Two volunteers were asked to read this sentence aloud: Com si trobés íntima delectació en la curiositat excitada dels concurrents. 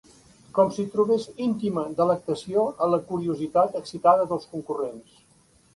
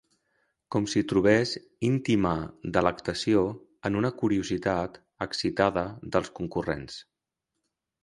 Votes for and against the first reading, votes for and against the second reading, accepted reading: 4, 0, 0, 2, first